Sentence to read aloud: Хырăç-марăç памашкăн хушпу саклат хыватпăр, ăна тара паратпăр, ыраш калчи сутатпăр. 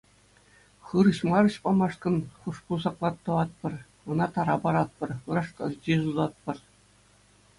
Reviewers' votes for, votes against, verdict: 2, 0, accepted